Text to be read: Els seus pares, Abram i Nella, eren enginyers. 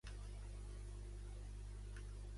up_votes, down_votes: 1, 2